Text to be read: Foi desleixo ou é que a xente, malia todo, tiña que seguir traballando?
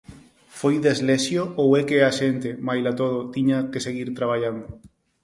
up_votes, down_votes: 0, 4